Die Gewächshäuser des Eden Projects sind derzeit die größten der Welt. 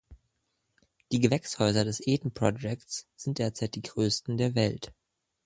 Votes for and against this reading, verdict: 2, 0, accepted